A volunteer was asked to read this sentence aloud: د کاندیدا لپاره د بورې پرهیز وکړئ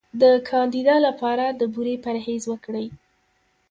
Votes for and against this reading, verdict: 1, 2, rejected